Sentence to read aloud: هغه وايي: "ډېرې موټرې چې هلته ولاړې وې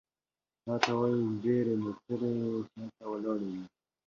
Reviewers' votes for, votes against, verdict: 1, 2, rejected